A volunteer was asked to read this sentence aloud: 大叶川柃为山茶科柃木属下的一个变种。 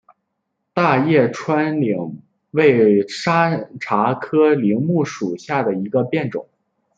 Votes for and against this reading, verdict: 1, 2, rejected